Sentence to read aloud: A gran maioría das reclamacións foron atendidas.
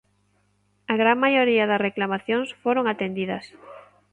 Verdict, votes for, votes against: accepted, 2, 0